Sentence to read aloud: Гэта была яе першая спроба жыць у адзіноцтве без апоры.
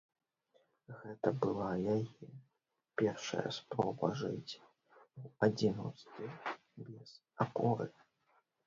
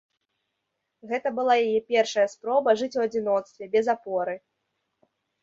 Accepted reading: second